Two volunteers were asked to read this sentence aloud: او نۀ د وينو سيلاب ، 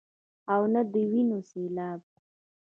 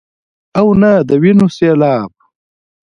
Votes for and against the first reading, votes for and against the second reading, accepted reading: 1, 2, 2, 1, second